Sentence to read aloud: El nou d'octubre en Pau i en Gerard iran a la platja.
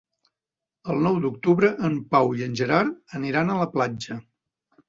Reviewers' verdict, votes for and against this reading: rejected, 1, 2